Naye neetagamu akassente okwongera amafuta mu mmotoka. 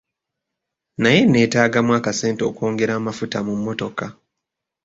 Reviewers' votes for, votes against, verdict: 3, 0, accepted